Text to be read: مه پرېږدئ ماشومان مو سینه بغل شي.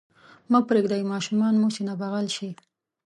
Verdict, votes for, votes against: accepted, 2, 0